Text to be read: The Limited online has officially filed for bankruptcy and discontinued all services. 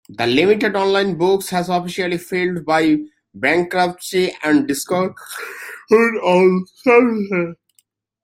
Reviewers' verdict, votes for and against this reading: rejected, 0, 3